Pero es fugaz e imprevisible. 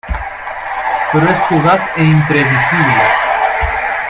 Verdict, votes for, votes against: rejected, 1, 2